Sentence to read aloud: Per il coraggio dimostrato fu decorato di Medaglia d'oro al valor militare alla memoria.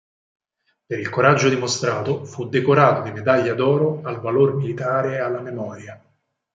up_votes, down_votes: 4, 0